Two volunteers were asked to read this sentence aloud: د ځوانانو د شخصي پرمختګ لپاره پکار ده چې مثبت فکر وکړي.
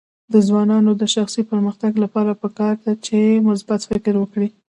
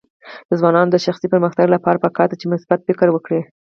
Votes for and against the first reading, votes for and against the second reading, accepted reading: 0, 2, 6, 0, second